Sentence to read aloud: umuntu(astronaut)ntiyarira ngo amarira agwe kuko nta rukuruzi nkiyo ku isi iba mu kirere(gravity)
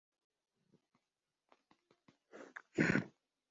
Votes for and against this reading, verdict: 0, 2, rejected